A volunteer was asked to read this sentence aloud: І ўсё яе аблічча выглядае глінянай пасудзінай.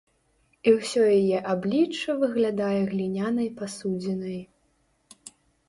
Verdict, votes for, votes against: accepted, 2, 0